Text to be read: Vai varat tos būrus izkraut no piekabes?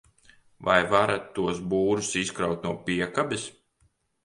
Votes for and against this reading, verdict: 2, 0, accepted